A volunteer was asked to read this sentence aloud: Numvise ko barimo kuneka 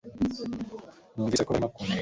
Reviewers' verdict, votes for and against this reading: rejected, 2, 3